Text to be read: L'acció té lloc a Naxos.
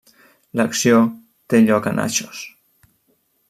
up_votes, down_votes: 0, 2